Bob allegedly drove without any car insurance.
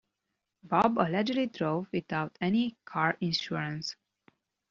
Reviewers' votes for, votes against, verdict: 2, 0, accepted